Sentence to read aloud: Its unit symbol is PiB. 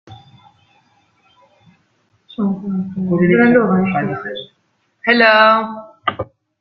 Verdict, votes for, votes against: rejected, 0, 2